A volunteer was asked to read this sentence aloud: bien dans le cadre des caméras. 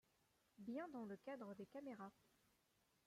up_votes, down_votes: 1, 2